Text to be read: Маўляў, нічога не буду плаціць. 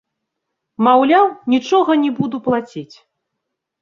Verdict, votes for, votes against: rejected, 1, 2